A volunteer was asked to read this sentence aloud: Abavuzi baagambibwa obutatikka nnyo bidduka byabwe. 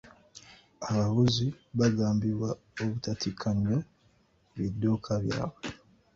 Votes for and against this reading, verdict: 0, 2, rejected